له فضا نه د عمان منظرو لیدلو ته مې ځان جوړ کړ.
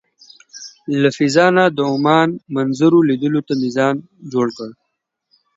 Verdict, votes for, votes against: accepted, 2, 0